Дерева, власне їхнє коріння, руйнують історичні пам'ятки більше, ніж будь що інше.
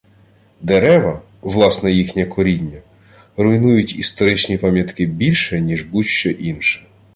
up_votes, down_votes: 2, 0